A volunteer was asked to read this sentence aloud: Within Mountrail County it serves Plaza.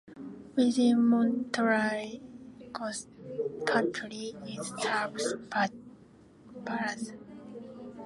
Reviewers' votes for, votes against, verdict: 0, 2, rejected